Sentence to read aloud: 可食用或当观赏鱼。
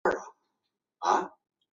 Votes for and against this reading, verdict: 0, 3, rejected